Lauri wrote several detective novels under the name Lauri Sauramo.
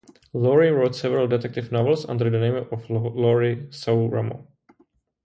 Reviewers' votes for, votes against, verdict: 0, 2, rejected